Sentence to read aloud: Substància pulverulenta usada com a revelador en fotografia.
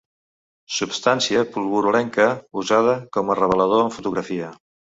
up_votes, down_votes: 1, 3